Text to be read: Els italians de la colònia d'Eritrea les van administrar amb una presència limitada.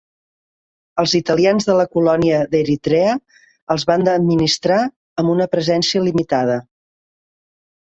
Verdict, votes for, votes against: rejected, 0, 2